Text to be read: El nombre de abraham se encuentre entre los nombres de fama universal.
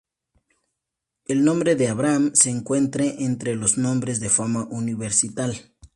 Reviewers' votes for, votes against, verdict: 2, 0, accepted